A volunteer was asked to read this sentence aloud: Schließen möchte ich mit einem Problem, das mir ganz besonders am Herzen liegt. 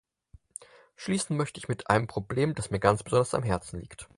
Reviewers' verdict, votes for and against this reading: rejected, 2, 4